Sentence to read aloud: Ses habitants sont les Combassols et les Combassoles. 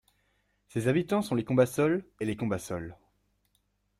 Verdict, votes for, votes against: accepted, 2, 0